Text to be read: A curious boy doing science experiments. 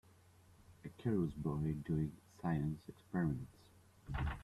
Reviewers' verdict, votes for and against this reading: accepted, 2, 0